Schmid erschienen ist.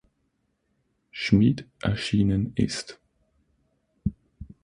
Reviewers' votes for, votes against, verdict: 6, 0, accepted